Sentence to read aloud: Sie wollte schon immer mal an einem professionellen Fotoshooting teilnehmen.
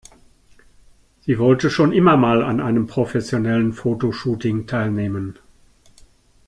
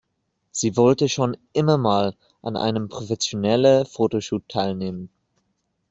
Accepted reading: first